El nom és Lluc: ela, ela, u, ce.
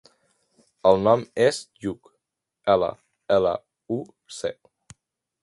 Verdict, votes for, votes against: accepted, 2, 0